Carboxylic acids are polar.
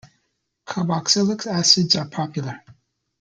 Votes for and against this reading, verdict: 0, 2, rejected